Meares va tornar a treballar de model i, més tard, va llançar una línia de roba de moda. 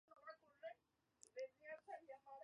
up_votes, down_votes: 0, 3